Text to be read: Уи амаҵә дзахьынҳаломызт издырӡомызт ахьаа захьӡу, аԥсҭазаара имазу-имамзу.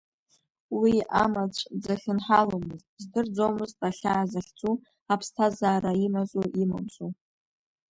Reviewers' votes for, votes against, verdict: 2, 0, accepted